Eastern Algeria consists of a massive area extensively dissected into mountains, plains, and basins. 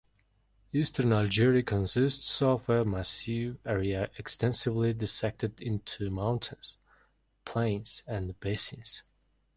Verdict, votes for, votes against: accepted, 2, 0